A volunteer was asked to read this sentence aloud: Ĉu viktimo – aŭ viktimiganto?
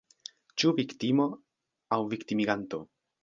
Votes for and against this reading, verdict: 1, 2, rejected